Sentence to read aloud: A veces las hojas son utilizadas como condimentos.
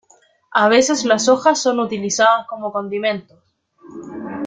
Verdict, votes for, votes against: accepted, 2, 1